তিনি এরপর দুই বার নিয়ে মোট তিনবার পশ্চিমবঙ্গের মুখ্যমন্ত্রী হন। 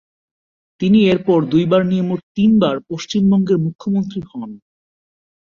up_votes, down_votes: 2, 0